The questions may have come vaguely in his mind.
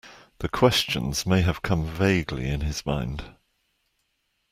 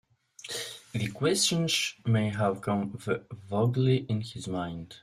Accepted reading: first